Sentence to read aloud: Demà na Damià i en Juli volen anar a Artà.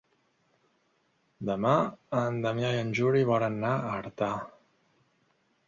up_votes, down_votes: 1, 2